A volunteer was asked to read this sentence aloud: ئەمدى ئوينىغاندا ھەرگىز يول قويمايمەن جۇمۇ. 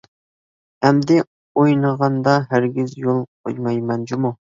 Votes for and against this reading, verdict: 2, 0, accepted